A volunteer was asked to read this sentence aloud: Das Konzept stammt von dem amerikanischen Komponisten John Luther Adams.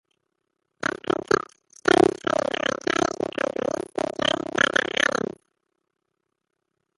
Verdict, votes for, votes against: rejected, 0, 2